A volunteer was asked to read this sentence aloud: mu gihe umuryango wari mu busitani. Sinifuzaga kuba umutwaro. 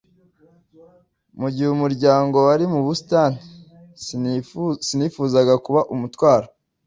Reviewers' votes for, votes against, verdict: 0, 2, rejected